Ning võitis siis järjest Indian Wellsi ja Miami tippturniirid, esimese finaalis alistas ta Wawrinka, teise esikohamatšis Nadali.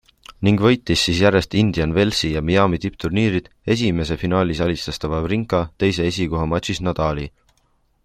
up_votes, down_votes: 2, 1